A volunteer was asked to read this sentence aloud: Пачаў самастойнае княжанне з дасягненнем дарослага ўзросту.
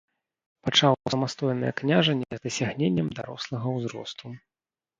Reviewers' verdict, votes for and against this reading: rejected, 0, 2